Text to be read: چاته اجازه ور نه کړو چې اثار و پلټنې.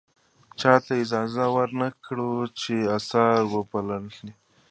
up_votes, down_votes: 1, 2